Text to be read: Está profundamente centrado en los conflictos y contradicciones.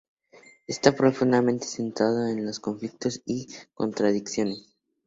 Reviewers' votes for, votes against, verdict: 2, 0, accepted